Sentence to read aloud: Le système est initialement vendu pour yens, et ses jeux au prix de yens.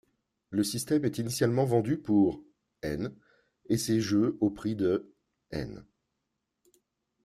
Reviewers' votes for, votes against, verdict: 1, 2, rejected